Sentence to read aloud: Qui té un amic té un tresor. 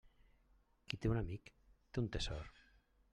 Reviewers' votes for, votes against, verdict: 1, 2, rejected